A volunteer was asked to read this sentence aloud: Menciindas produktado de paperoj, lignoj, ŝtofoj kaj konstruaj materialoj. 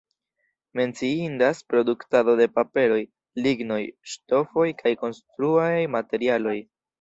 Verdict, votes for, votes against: accepted, 2, 0